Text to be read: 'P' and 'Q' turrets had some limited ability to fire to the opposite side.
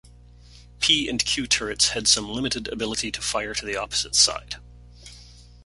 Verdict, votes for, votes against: accepted, 2, 0